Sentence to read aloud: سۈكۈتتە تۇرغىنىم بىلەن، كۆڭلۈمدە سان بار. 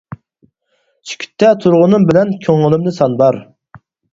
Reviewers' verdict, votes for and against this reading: rejected, 2, 4